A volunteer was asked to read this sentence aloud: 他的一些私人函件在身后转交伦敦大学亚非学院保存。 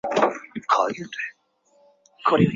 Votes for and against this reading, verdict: 0, 2, rejected